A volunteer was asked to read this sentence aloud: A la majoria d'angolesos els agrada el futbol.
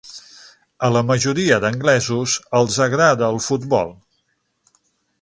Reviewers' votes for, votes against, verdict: 0, 6, rejected